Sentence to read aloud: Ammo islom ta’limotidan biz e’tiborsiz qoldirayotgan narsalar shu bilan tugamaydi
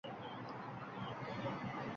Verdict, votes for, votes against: rejected, 0, 2